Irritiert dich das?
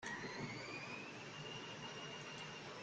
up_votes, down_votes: 0, 2